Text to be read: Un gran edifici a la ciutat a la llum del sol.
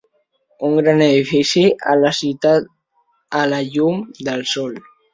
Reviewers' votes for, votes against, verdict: 2, 0, accepted